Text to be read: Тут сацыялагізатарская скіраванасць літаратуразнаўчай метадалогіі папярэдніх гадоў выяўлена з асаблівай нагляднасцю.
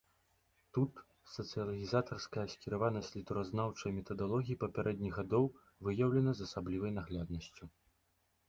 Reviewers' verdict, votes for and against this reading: rejected, 1, 2